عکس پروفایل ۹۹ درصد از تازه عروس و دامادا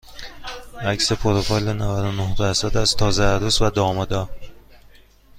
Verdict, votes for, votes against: rejected, 0, 2